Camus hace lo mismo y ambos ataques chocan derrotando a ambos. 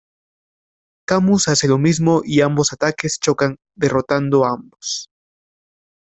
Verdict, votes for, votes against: accepted, 2, 0